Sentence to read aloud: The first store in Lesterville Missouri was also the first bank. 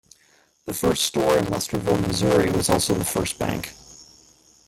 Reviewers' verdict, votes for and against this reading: rejected, 1, 2